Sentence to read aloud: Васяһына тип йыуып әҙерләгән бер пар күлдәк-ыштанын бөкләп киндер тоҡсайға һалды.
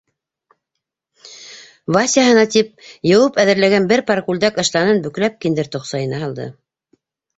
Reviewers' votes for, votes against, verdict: 1, 2, rejected